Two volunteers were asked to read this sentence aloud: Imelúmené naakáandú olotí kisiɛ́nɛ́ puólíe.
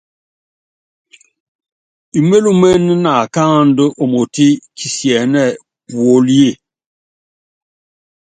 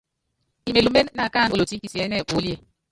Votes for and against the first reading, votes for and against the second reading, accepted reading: 2, 0, 0, 2, first